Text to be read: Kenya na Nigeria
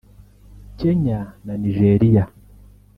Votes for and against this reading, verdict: 2, 0, accepted